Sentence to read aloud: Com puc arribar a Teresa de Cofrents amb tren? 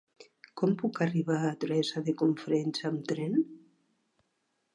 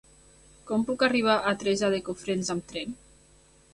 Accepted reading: first